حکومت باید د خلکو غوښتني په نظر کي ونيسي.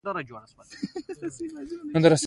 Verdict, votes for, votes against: accepted, 2, 0